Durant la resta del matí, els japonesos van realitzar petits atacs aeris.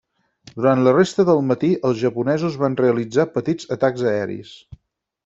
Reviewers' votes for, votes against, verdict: 6, 0, accepted